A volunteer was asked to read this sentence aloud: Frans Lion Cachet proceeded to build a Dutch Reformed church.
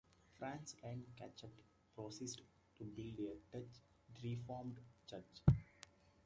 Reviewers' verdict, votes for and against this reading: rejected, 1, 2